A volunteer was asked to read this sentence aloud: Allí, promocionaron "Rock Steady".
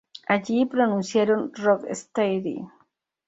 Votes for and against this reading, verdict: 0, 2, rejected